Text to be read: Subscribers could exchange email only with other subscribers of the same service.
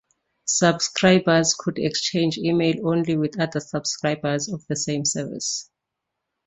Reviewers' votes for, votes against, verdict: 2, 0, accepted